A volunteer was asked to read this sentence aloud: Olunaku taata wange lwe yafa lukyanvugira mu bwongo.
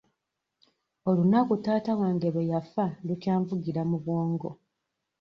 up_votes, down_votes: 2, 0